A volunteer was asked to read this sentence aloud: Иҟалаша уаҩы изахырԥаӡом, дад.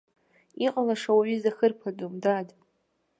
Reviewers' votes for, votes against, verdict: 2, 0, accepted